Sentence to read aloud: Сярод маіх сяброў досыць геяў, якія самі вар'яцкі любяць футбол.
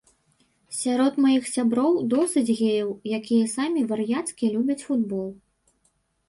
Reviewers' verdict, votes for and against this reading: accepted, 2, 0